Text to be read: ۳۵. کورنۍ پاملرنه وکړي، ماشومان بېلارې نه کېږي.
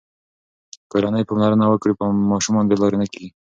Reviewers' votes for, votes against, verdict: 0, 2, rejected